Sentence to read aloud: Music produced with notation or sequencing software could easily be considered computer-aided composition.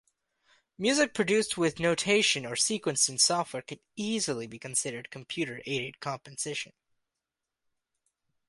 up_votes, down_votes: 2, 0